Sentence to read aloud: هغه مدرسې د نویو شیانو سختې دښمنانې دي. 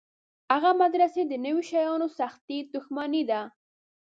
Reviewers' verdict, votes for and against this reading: rejected, 0, 2